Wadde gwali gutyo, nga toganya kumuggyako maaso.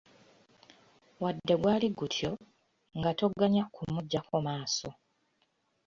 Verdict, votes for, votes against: rejected, 1, 2